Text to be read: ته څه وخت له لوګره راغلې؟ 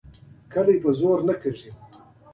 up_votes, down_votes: 2, 3